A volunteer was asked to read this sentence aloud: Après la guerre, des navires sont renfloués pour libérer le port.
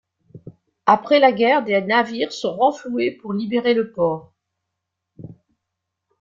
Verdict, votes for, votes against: accepted, 2, 1